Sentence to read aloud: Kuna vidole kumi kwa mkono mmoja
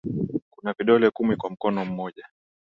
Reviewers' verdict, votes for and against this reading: accepted, 14, 3